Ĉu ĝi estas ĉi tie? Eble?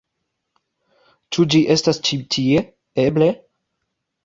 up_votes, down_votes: 2, 0